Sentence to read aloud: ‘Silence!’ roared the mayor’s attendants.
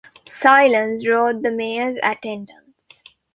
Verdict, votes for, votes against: accepted, 2, 0